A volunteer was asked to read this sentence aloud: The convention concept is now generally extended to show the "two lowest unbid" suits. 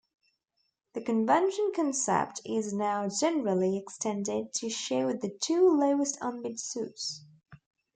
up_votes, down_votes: 2, 0